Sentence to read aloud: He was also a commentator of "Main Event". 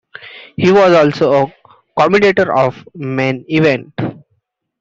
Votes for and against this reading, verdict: 2, 0, accepted